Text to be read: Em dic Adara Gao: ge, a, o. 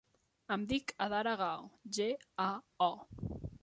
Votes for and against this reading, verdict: 3, 0, accepted